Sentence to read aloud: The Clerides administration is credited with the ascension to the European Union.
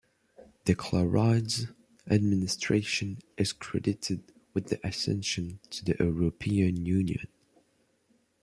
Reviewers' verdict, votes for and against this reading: accepted, 2, 0